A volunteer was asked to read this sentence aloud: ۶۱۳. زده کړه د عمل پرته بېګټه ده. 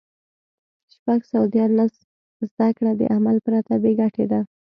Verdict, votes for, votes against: rejected, 0, 2